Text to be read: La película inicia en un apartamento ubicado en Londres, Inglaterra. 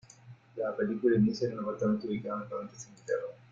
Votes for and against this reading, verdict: 0, 2, rejected